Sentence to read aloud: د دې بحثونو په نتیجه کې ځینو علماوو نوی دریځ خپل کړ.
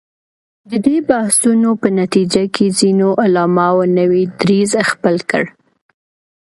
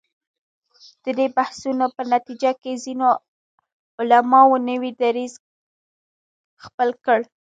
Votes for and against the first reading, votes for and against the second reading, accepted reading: 2, 0, 1, 2, first